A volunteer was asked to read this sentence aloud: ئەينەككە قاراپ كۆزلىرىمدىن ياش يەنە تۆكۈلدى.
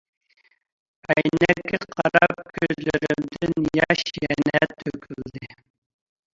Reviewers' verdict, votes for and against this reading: rejected, 1, 2